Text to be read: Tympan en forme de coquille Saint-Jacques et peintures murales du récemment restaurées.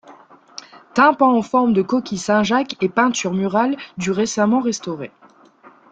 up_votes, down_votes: 0, 2